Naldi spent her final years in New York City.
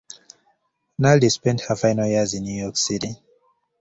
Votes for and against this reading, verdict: 2, 0, accepted